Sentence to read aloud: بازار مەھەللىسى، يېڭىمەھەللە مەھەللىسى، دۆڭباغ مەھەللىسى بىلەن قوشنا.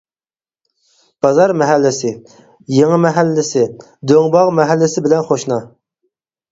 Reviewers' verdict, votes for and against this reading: rejected, 0, 4